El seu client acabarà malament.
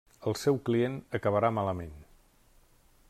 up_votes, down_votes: 3, 0